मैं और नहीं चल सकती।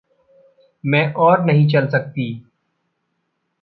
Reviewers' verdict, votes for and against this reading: accepted, 2, 0